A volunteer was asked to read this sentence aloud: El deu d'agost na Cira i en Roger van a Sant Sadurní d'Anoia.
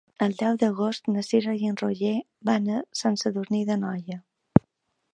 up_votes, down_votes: 3, 0